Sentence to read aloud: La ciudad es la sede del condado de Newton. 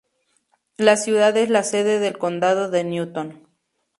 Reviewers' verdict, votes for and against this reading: accepted, 2, 0